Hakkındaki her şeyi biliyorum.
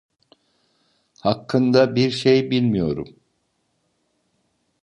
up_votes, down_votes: 0, 2